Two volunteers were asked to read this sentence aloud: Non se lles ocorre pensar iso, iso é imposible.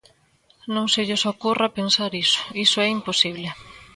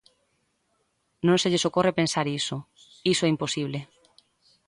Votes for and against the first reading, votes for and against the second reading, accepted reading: 0, 2, 2, 0, second